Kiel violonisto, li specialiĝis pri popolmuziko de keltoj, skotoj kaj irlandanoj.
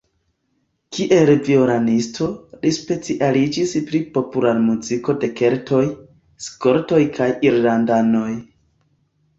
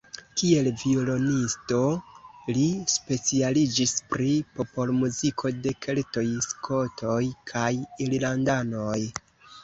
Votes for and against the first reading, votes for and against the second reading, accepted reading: 2, 0, 1, 2, first